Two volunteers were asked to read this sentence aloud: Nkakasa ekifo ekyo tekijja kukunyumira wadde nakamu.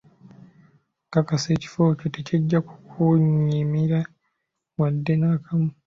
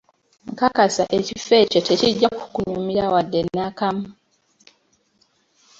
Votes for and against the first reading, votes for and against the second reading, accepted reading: 1, 2, 3, 0, second